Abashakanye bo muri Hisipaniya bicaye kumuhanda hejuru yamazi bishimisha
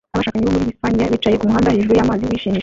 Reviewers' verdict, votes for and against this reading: rejected, 0, 2